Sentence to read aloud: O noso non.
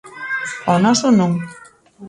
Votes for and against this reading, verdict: 1, 2, rejected